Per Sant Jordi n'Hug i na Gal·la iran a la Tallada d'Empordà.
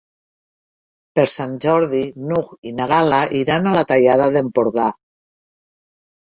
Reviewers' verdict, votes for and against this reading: accepted, 3, 0